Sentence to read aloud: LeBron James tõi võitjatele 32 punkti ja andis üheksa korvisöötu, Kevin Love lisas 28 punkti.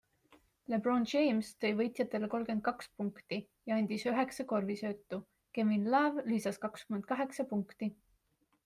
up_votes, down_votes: 0, 2